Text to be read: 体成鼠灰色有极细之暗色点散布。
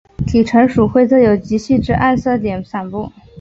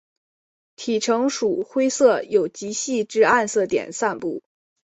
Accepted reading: second